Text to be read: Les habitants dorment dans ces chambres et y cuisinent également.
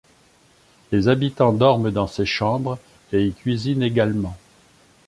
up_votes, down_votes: 2, 0